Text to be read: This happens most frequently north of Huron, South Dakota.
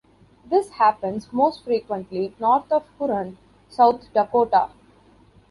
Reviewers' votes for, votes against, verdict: 3, 0, accepted